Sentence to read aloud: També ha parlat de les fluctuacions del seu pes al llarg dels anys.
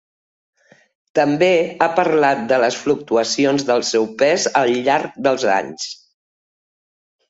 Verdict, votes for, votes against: accepted, 3, 0